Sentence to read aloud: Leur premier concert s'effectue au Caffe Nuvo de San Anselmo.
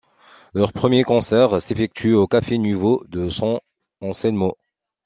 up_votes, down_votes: 2, 0